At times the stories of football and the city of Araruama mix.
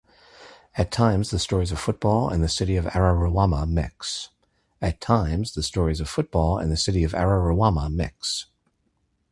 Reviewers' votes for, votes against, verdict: 1, 2, rejected